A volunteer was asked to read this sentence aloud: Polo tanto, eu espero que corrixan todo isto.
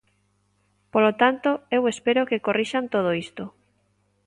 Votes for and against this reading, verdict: 2, 0, accepted